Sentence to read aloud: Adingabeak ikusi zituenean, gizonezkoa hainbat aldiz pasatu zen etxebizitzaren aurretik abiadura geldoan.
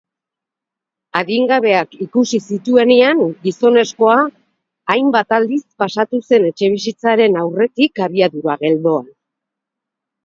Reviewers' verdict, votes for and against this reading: accepted, 2, 0